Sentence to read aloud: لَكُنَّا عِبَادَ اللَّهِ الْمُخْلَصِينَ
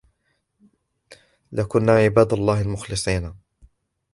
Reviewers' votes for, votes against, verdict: 2, 0, accepted